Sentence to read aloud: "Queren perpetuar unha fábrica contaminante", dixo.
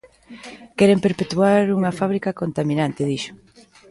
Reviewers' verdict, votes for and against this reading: rejected, 1, 2